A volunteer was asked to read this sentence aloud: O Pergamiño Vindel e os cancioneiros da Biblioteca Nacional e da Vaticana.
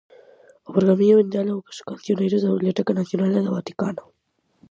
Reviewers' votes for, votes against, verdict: 2, 2, rejected